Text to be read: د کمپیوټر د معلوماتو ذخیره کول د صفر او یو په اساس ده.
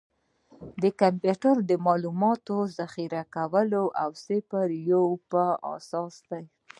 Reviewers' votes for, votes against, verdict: 1, 2, rejected